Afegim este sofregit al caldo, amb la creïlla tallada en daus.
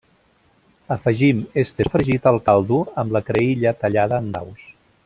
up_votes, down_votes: 0, 2